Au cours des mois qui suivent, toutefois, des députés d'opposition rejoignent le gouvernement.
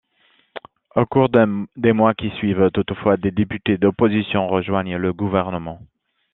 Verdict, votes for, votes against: rejected, 0, 2